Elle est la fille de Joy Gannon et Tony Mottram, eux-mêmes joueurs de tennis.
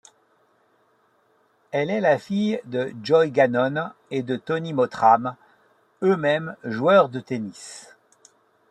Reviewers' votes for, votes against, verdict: 1, 2, rejected